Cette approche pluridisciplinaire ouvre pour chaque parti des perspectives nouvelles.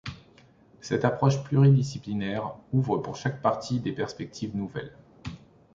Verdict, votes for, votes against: accepted, 2, 0